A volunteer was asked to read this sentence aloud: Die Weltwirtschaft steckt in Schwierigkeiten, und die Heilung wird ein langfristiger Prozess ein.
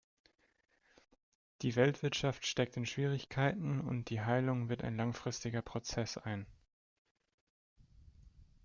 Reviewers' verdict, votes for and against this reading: accepted, 2, 0